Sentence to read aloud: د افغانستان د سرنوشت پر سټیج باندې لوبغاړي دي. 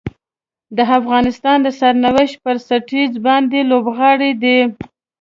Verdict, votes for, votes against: rejected, 1, 2